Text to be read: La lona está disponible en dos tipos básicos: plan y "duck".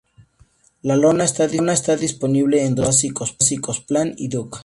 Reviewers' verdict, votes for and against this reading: accepted, 2, 0